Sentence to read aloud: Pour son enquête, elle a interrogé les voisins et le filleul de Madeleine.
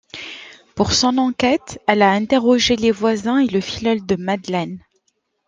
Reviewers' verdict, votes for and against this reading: accepted, 2, 0